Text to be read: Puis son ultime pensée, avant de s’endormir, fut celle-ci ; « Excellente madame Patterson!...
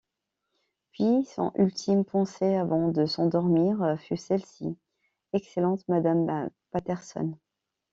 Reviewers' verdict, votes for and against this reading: rejected, 1, 2